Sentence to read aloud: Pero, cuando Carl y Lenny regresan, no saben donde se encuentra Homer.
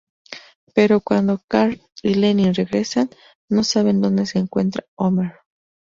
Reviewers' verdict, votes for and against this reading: accepted, 2, 0